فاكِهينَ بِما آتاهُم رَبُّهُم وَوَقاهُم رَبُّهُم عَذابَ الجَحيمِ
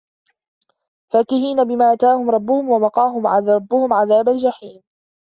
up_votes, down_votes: 1, 2